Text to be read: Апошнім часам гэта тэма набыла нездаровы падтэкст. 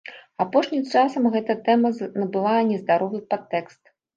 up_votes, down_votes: 1, 3